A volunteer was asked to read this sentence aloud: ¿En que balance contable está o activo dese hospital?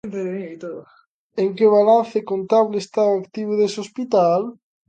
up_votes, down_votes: 0, 2